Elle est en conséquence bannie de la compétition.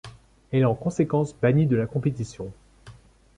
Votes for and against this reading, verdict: 2, 0, accepted